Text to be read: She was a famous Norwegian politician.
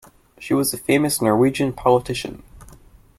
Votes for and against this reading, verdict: 2, 0, accepted